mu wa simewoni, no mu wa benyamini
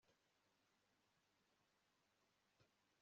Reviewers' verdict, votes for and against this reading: rejected, 0, 2